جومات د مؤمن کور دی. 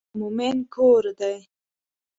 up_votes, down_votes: 1, 2